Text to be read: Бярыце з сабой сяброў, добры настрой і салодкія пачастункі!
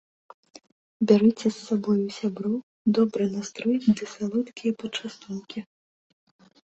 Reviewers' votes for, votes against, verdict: 0, 2, rejected